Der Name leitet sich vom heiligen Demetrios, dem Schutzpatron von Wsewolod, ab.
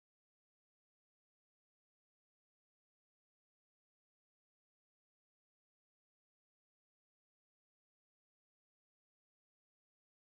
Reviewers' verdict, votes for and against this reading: rejected, 0, 2